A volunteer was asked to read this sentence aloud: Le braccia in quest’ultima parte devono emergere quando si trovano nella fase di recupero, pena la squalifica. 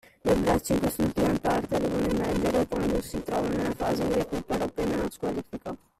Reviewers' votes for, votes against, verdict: 0, 2, rejected